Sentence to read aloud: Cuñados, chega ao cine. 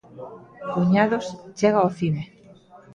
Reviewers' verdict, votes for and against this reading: accepted, 2, 0